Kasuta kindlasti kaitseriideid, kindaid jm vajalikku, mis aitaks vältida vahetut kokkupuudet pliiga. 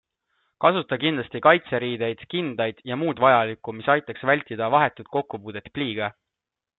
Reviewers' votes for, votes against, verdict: 2, 0, accepted